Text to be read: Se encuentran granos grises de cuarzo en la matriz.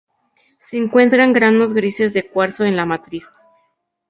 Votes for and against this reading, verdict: 2, 0, accepted